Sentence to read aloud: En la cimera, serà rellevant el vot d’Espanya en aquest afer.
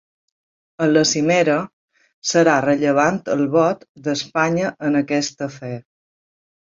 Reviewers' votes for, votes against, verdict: 2, 0, accepted